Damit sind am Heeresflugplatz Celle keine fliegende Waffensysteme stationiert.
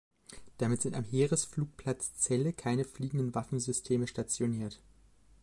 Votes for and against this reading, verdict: 1, 2, rejected